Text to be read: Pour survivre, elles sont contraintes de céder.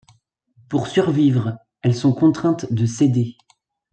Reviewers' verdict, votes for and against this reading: accepted, 2, 0